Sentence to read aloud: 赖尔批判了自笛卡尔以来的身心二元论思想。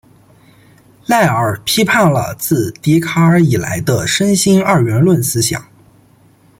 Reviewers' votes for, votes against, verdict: 2, 0, accepted